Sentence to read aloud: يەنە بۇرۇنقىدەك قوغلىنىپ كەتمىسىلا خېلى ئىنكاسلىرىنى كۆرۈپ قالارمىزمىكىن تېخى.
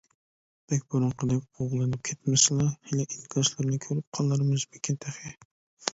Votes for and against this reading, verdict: 0, 2, rejected